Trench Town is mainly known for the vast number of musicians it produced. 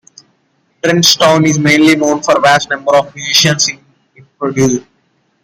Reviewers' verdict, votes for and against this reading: rejected, 1, 2